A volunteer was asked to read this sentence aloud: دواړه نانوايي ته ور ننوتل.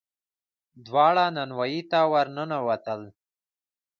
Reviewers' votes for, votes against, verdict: 1, 2, rejected